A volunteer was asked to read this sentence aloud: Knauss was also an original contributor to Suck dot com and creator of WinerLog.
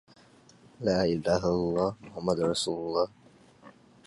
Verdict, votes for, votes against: rejected, 0, 2